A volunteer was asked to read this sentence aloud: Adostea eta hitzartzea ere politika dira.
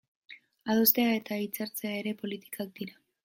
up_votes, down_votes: 1, 2